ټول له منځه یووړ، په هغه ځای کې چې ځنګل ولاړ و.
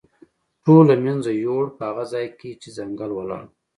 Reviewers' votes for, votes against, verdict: 2, 0, accepted